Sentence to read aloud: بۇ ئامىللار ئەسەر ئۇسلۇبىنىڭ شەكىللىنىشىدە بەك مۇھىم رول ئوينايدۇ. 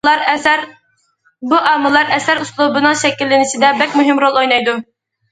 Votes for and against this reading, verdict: 0, 2, rejected